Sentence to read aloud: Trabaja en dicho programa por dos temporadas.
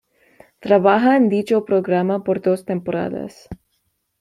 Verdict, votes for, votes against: accepted, 2, 0